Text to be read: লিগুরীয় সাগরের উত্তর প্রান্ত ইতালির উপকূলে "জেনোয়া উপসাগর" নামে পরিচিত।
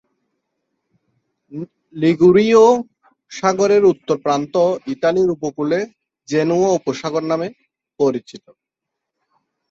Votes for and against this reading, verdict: 0, 2, rejected